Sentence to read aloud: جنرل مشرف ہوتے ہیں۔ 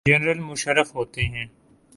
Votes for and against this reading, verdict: 2, 0, accepted